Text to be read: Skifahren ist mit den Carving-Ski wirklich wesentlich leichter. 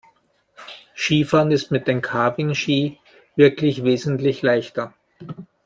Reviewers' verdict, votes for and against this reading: accepted, 2, 0